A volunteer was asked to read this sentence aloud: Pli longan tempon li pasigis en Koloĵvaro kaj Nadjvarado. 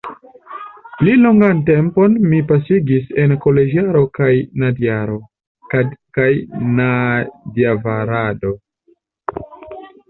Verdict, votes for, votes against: rejected, 0, 2